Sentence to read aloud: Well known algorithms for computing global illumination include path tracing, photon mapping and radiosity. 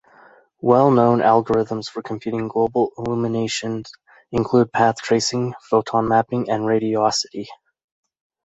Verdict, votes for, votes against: accepted, 2, 0